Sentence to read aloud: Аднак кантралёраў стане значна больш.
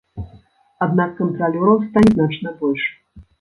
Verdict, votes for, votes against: rejected, 1, 2